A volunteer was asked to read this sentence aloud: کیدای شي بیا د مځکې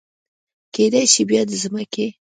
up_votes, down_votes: 1, 2